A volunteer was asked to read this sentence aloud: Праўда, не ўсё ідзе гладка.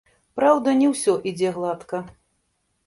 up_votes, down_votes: 1, 2